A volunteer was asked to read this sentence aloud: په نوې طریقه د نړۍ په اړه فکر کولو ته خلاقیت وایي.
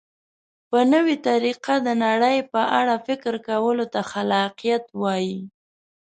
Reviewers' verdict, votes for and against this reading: accepted, 2, 0